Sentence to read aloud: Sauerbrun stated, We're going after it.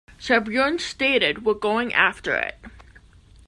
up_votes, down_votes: 2, 0